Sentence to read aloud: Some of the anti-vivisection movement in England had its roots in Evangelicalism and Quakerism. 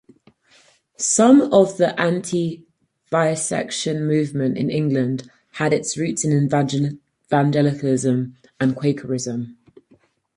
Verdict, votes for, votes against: rejected, 2, 2